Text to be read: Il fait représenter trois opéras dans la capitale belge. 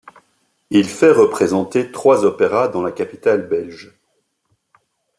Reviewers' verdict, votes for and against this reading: accepted, 2, 0